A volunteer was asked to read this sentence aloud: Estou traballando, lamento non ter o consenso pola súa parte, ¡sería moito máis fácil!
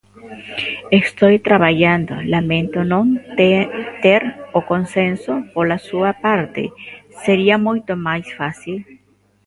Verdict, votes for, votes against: rejected, 0, 2